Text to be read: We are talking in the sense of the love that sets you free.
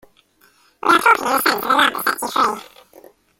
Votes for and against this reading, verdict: 0, 2, rejected